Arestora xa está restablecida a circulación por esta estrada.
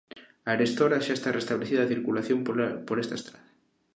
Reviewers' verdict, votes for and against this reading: rejected, 1, 3